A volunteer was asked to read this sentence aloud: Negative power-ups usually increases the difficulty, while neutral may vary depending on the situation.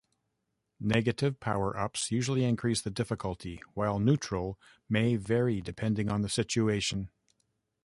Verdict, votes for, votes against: accepted, 2, 1